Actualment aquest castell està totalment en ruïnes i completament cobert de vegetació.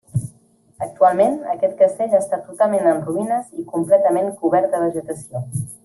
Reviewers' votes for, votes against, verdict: 2, 0, accepted